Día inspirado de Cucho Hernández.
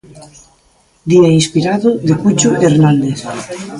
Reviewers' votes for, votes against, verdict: 1, 2, rejected